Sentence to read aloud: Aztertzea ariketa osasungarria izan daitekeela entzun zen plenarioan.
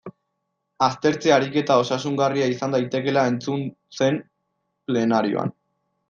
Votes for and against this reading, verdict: 1, 2, rejected